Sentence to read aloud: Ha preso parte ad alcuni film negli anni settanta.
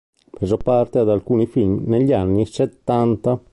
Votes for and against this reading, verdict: 1, 2, rejected